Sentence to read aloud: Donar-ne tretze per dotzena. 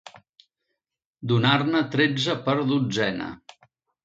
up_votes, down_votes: 2, 1